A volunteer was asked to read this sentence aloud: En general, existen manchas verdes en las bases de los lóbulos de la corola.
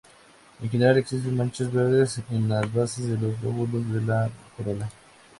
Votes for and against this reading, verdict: 2, 0, accepted